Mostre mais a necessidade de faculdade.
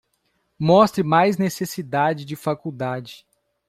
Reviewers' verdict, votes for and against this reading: rejected, 0, 2